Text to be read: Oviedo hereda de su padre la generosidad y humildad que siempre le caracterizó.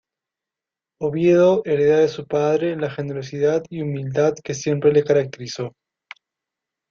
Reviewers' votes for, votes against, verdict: 2, 0, accepted